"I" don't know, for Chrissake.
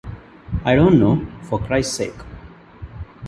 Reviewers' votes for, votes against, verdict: 1, 2, rejected